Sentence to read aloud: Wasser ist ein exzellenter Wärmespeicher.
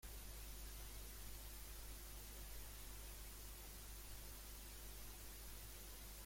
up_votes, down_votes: 0, 2